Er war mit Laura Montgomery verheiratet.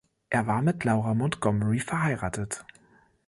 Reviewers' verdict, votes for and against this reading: accepted, 2, 0